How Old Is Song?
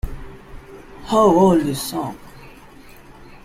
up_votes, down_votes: 2, 0